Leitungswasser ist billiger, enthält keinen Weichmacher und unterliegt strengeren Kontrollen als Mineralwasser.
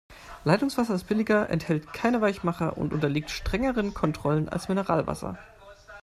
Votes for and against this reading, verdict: 2, 0, accepted